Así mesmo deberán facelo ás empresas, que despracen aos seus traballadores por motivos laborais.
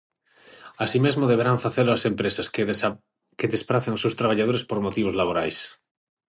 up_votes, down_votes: 0, 6